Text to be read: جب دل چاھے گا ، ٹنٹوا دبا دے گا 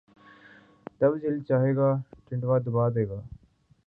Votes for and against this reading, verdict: 3, 0, accepted